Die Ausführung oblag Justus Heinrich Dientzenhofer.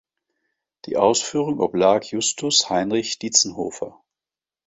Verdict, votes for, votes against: rejected, 2, 3